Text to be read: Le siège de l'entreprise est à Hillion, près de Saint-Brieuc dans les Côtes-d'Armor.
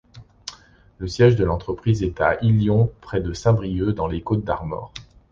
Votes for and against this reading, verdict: 2, 0, accepted